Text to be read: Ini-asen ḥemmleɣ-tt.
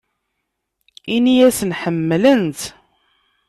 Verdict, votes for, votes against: rejected, 1, 2